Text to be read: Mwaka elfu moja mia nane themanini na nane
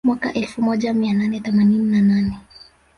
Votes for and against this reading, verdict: 0, 2, rejected